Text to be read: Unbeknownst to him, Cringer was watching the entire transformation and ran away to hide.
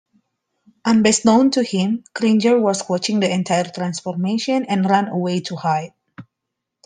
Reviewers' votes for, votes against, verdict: 2, 0, accepted